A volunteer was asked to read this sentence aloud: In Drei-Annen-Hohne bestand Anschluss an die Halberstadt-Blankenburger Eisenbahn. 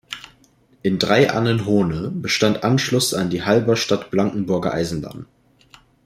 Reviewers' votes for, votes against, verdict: 2, 0, accepted